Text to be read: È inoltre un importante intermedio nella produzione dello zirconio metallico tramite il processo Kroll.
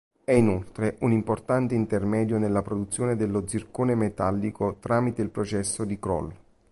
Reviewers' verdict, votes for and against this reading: rejected, 0, 3